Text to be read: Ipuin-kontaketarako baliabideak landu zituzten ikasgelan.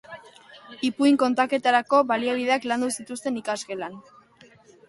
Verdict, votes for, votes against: accepted, 2, 0